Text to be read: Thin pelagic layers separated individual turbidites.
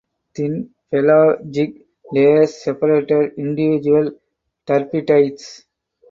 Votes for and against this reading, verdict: 2, 0, accepted